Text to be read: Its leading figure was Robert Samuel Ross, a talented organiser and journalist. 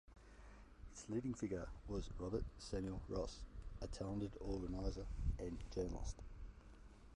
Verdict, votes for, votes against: rejected, 0, 2